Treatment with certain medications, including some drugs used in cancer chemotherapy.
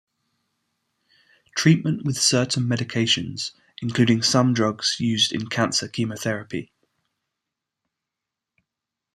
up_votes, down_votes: 2, 0